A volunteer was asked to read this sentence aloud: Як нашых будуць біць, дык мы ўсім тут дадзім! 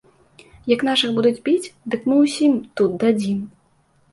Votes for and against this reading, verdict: 2, 0, accepted